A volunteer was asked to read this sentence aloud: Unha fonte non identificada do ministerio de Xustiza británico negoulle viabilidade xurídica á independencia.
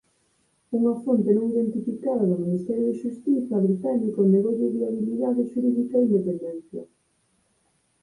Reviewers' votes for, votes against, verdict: 0, 4, rejected